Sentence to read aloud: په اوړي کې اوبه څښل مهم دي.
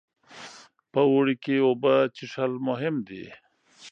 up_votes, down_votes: 2, 0